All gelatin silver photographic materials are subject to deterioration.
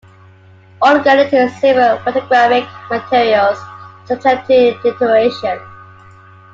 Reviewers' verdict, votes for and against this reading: rejected, 1, 2